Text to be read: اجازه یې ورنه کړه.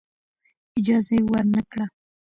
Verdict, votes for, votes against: accepted, 2, 0